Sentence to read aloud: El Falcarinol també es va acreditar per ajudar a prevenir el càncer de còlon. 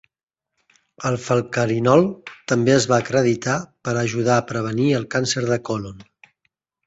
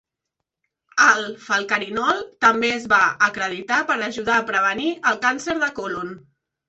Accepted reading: first